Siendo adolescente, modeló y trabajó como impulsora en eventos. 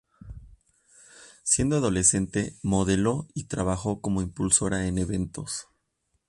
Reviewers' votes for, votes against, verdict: 2, 0, accepted